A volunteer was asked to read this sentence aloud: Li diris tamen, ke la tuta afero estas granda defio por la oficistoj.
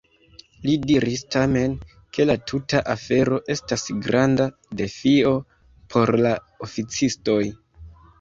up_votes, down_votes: 2, 0